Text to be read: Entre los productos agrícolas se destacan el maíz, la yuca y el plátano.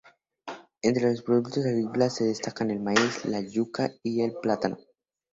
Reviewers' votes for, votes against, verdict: 2, 2, rejected